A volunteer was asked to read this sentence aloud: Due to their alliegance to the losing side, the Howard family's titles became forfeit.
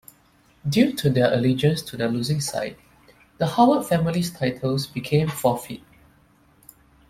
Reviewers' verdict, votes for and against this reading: accepted, 2, 1